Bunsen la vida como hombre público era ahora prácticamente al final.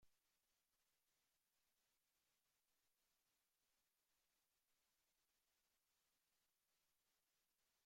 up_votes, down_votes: 0, 2